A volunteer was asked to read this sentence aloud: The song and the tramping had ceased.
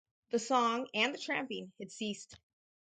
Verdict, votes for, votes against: accepted, 4, 0